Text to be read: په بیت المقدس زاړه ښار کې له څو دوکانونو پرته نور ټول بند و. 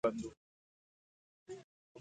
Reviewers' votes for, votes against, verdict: 1, 2, rejected